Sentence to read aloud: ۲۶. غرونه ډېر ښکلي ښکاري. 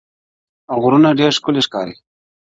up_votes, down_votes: 0, 2